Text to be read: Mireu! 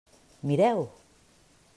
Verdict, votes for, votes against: accepted, 3, 0